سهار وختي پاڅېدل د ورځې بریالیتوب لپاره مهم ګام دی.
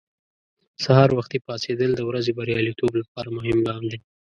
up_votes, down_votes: 2, 0